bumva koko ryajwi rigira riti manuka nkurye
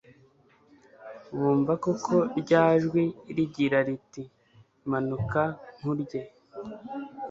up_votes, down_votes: 2, 0